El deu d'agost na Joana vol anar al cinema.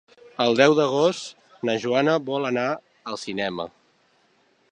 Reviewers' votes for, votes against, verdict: 3, 0, accepted